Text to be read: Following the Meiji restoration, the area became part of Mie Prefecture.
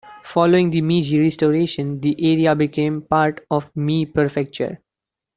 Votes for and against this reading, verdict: 0, 2, rejected